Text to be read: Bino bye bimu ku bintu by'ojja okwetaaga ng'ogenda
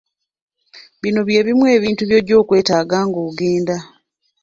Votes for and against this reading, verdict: 1, 2, rejected